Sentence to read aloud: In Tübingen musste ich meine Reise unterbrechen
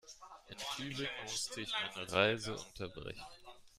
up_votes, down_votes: 0, 2